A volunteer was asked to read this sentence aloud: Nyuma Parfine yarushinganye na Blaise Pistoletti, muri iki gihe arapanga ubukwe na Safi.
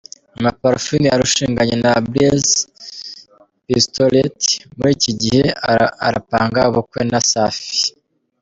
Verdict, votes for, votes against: rejected, 0, 2